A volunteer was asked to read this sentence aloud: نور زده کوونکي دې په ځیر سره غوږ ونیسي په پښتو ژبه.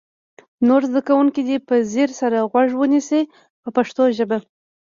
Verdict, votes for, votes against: rejected, 1, 2